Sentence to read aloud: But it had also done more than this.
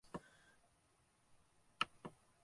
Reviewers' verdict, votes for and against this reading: rejected, 0, 4